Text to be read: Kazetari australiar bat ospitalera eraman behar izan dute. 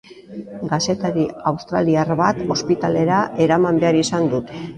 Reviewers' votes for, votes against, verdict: 0, 2, rejected